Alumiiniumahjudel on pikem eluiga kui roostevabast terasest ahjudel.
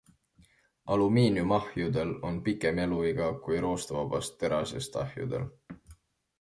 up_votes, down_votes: 2, 0